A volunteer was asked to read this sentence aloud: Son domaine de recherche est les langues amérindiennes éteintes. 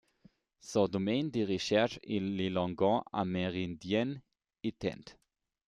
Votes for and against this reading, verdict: 2, 1, accepted